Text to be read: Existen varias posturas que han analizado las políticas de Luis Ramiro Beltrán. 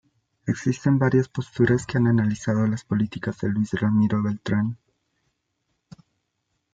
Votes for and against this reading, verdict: 1, 2, rejected